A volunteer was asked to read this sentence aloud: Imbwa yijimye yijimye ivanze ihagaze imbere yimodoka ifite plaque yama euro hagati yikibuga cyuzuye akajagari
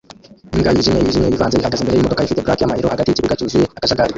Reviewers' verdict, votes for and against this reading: rejected, 0, 2